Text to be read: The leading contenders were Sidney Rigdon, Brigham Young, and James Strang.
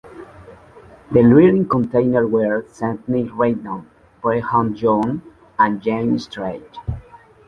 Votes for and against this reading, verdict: 1, 2, rejected